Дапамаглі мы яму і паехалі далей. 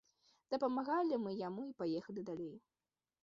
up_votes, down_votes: 0, 2